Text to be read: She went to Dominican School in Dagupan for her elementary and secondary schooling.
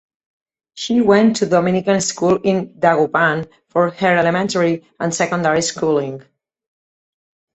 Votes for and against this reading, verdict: 4, 0, accepted